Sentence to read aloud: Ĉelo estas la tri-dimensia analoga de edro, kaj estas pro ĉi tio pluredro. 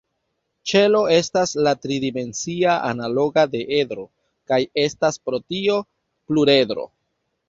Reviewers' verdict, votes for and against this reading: rejected, 1, 2